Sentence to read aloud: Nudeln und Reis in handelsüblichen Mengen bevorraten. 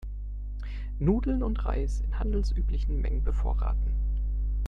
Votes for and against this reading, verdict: 2, 0, accepted